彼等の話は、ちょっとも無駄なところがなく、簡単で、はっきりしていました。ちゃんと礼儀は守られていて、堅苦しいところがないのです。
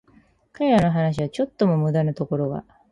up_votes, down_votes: 2, 2